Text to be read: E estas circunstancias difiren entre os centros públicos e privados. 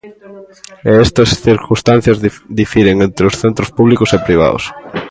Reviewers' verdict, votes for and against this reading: rejected, 0, 2